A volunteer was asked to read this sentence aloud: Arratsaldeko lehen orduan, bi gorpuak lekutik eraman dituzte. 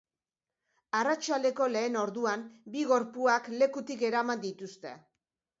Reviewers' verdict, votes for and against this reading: accepted, 2, 0